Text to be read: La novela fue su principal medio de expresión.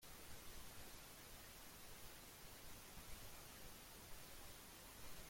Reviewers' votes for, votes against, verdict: 0, 2, rejected